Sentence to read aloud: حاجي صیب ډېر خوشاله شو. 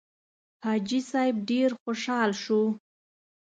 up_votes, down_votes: 2, 0